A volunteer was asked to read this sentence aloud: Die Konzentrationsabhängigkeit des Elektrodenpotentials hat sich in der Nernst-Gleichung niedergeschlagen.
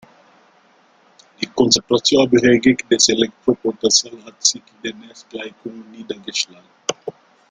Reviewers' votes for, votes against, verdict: 0, 2, rejected